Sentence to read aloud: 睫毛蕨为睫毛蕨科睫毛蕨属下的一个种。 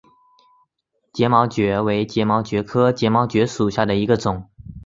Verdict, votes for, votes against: accepted, 2, 1